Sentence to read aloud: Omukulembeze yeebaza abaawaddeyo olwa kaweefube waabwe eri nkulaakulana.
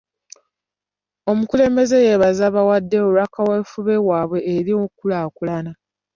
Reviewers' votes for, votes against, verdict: 2, 1, accepted